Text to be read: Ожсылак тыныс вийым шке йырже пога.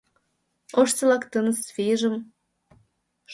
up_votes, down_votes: 1, 2